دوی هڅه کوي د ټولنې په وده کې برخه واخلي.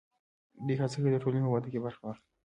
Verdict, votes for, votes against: accepted, 3, 1